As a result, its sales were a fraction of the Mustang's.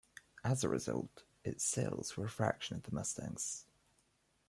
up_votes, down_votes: 2, 0